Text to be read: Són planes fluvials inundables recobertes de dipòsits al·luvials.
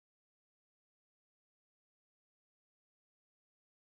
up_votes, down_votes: 0, 2